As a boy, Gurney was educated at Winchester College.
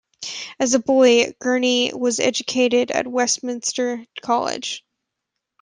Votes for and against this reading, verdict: 0, 2, rejected